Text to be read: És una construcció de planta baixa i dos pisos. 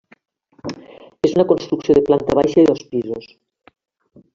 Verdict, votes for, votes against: accepted, 3, 0